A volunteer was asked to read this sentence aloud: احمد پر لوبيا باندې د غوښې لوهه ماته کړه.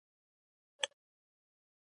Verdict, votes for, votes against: rejected, 0, 2